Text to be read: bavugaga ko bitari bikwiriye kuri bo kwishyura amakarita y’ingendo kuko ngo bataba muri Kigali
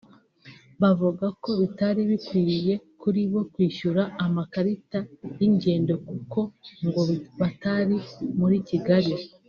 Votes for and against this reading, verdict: 0, 2, rejected